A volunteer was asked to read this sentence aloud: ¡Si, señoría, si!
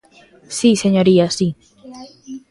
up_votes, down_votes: 1, 2